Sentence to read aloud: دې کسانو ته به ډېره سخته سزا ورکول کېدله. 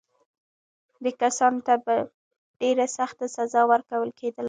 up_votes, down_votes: 0, 2